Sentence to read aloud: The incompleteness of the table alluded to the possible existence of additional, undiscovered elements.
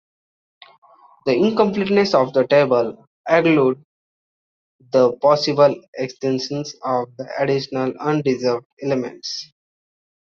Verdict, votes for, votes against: rejected, 0, 2